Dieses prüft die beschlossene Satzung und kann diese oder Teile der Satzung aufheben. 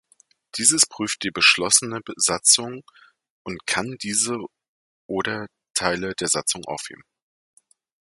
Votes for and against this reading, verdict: 0, 2, rejected